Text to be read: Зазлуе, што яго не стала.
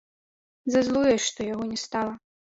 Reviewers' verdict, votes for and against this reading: accepted, 2, 0